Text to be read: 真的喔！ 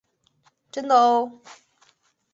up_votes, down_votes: 2, 0